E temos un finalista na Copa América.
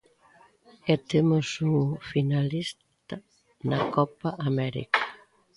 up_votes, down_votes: 0, 2